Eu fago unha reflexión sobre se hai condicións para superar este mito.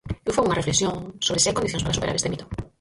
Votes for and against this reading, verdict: 0, 4, rejected